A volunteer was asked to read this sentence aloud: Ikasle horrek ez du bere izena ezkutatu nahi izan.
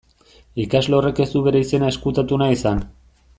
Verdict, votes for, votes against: accepted, 2, 0